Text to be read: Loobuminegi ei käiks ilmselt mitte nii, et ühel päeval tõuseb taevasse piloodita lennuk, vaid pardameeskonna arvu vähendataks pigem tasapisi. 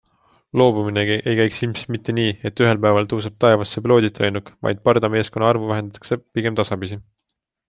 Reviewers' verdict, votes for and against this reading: accepted, 2, 0